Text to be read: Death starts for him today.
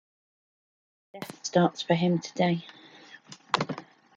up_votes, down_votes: 2, 0